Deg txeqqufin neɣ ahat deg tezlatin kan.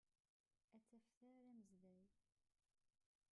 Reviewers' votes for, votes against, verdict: 0, 2, rejected